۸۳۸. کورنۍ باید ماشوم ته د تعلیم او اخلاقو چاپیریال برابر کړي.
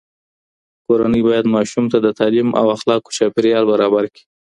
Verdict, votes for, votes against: rejected, 0, 2